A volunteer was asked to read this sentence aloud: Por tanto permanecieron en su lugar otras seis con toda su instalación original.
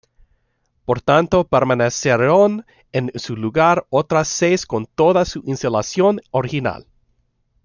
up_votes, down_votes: 0, 2